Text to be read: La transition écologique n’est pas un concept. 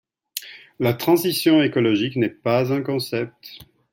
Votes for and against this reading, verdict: 2, 0, accepted